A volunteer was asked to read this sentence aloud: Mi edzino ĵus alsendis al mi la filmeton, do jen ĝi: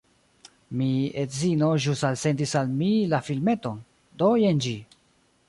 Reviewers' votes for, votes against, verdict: 0, 2, rejected